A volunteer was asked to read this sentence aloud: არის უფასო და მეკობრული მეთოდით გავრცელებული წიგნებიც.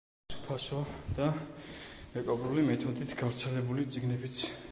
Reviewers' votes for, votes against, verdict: 0, 2, rejected